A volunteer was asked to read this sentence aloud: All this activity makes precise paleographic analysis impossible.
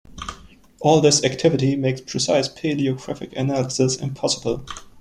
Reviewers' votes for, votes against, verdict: 2, 0, accepted